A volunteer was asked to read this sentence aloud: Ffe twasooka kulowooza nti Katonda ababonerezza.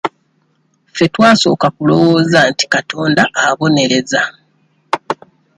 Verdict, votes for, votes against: rejected, 1, 2